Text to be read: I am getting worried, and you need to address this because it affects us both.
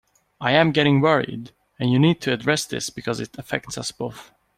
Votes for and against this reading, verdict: 2, 1, accepted